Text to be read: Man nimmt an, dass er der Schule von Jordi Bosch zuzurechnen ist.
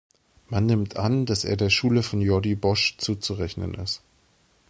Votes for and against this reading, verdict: 2, 0, accepted